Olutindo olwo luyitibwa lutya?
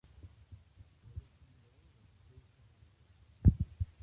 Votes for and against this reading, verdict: 0, 2, rejected